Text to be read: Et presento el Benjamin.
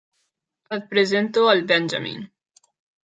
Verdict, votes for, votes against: accepted, 3, 0